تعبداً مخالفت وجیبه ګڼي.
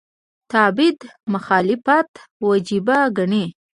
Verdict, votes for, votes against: rejected, 1, 2